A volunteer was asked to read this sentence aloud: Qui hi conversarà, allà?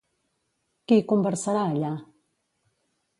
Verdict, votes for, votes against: rejected, 1, 2